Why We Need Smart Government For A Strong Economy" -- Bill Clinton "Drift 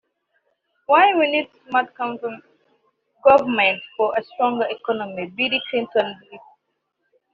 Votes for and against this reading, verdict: 0, 2, rejected